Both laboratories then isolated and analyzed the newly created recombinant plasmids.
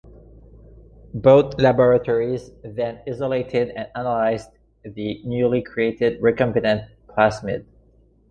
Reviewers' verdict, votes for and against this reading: accepted, 2, 1